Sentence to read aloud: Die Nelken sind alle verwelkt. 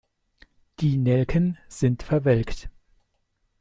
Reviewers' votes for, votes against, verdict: 1, 2, rejected